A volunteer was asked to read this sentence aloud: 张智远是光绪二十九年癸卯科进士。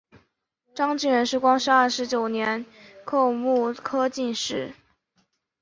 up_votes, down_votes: 0, 3